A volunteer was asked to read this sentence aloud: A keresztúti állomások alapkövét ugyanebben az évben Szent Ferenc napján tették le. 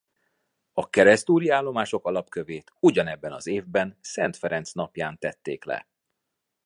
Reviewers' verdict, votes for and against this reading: rejected, 0, 2